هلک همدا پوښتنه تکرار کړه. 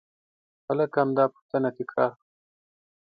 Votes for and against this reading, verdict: 0, 2, rejected